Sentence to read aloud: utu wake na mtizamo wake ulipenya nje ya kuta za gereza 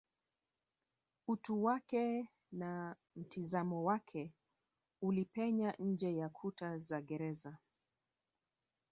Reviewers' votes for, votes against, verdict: 1, 2, rejected